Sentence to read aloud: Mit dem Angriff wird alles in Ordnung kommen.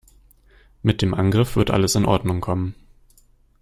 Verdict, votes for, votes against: accepted, 2, 0